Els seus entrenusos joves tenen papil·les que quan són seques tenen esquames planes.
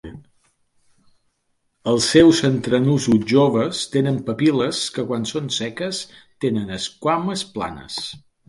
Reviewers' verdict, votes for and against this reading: accepted, 2, 0